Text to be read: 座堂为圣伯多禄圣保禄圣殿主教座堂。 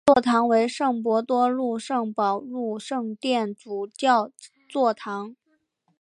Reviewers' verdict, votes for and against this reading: accepted, 2, 0